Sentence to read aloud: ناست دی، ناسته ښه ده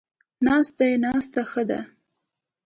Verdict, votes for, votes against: accepted, 2, 0